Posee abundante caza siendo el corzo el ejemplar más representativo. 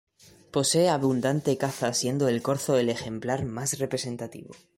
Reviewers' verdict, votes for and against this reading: accepted, 2, 0